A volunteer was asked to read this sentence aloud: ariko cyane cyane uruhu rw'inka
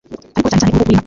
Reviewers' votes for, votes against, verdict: 1, 2, rejected